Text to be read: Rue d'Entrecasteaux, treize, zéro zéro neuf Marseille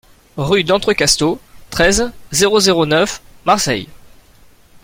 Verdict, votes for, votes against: accepted, 2, 0